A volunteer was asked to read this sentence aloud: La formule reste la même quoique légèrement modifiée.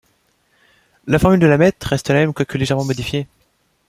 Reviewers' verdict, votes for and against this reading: rejected, 1, 2